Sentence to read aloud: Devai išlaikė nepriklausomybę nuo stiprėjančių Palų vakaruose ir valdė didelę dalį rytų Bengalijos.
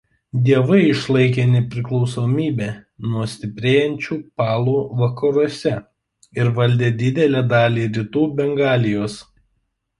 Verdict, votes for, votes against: rejected, 0, 2